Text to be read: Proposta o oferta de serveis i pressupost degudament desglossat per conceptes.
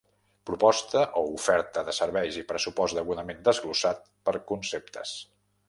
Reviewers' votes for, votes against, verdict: 2, 0, accepted